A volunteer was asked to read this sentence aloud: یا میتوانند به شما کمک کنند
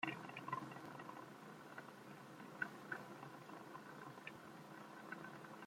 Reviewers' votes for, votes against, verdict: 0, 2, rejected